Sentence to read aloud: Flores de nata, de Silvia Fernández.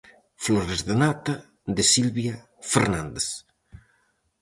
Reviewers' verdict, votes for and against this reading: accepted, 4, 0